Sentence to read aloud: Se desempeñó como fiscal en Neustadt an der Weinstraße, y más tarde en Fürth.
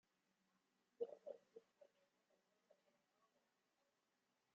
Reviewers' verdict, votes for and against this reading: rejected, 0, 2